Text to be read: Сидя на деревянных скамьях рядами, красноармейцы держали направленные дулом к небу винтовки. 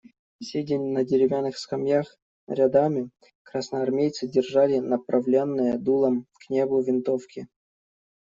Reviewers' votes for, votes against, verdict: 1, 2, rejected